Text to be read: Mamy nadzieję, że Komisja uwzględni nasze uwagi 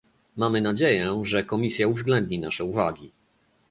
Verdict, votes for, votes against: accepted, 2, 0